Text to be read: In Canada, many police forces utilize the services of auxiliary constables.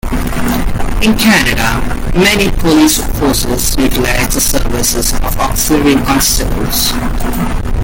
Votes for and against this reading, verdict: 0, 2, rejected